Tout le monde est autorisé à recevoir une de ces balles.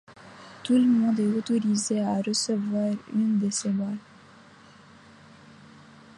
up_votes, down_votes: 2, 0